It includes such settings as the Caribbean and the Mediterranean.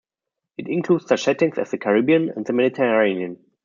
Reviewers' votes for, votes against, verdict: 2, 0, accepted